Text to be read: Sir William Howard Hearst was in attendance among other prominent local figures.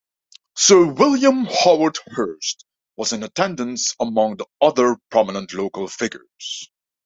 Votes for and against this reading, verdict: 0, 2, rejected